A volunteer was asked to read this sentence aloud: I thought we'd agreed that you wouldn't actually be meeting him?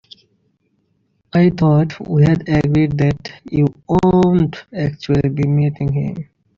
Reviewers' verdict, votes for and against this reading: rejected, 0, 2